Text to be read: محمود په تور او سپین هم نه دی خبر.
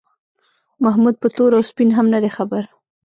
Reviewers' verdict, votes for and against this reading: rejected, 0, 2